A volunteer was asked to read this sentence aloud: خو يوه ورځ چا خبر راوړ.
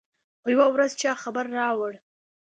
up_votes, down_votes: 2, 0